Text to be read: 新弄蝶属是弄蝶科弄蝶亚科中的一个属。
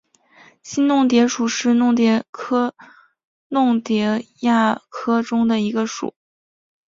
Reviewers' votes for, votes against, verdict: 2, 1, accepted